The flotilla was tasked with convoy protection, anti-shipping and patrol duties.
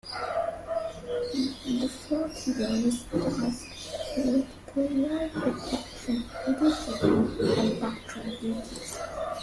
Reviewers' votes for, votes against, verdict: 0, 2, rejected